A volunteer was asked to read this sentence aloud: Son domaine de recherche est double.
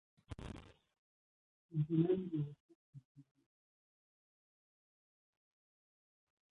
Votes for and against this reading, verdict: 0, 2, rejected